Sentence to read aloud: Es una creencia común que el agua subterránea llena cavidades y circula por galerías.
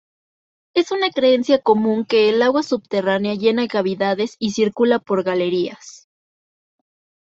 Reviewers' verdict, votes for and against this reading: rejected, 1, 2